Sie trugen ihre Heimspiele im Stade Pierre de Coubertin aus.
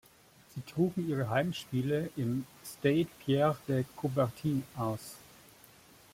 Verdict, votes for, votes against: rejected, 1, 2